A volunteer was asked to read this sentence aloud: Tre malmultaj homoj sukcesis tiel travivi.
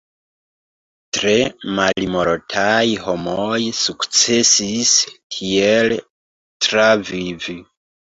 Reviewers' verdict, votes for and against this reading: rejected, 0, 2